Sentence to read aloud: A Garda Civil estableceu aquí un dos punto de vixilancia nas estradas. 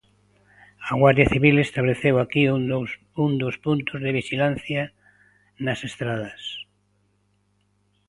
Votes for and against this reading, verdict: 0, 2, rejected